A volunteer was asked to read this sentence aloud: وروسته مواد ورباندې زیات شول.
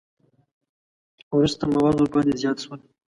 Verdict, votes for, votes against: rejected, 0, 2